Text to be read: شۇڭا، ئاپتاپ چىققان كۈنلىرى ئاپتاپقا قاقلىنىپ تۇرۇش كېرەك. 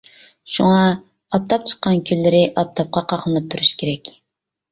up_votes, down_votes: 2, 0